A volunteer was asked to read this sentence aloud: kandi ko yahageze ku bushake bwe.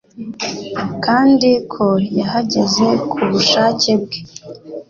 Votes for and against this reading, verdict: 3, 0, accepted